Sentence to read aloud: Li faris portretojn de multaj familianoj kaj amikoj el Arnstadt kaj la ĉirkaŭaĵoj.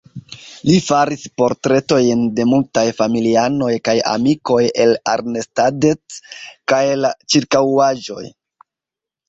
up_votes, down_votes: 2, 0